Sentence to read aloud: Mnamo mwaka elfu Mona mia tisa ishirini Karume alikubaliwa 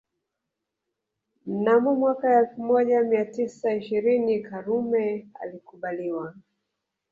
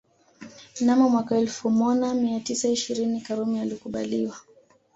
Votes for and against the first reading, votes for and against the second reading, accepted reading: 1, 2, 2, 0, second